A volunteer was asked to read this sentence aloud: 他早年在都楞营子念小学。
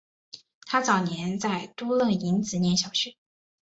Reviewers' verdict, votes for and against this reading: accepted, 2, 0